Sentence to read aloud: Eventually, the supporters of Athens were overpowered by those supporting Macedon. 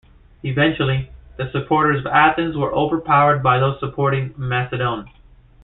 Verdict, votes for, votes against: accepted, 2, 0